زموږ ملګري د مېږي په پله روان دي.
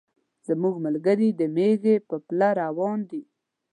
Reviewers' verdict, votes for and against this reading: rejected, 1, 2